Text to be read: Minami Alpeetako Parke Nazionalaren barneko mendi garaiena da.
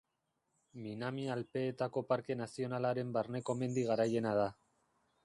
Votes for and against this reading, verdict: 3, 0, accepted